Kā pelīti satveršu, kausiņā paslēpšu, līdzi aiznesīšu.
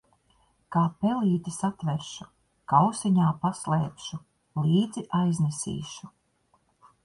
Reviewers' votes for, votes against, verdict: 2, 0, accepted